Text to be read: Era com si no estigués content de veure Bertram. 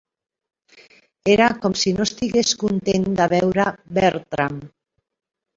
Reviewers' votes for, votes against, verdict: 2, 3, rejected